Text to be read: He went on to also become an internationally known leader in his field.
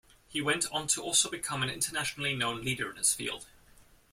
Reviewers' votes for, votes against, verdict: 2, 0, accepted